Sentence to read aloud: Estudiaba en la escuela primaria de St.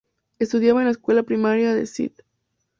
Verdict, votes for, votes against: rejected, 0, 2